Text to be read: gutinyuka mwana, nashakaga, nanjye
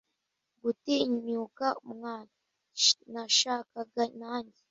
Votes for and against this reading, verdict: 1, 2, rejected